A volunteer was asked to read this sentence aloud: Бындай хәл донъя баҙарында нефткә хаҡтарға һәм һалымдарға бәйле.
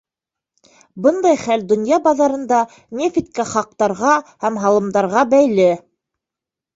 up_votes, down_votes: 3, 1